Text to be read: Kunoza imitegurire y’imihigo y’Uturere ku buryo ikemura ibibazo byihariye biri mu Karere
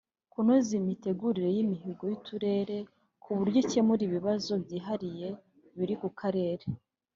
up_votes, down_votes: 0, 2